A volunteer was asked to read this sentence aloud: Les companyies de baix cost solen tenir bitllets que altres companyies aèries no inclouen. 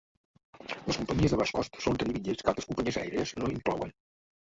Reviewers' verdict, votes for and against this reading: rejected, 0, 3